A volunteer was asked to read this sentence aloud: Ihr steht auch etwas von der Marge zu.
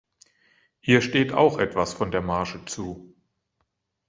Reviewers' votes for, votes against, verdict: 1, 2, rejected